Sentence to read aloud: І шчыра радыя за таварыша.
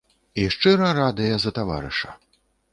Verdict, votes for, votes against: accepted, 2, 0